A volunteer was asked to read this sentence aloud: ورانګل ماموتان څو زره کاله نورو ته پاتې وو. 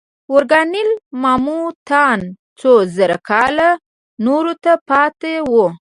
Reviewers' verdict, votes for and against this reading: rejected, 1, 2